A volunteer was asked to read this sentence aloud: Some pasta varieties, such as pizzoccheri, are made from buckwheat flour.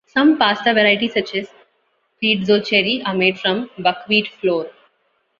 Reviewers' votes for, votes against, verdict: 2, 1, accepted